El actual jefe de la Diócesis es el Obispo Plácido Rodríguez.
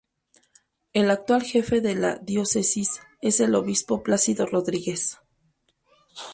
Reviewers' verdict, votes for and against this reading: rejected, 2, 2